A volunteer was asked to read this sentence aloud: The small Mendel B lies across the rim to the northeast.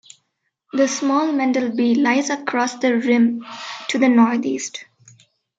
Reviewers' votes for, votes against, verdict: 2, 0, accepted